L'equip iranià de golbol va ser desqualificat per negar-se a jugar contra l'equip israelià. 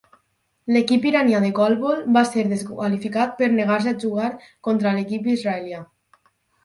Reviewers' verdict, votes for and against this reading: accepted, 4, 0